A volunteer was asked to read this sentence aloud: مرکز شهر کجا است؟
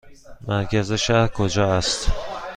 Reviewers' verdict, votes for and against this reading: accepted, 2, 0